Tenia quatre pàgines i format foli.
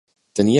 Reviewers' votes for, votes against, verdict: 0, 2, rejected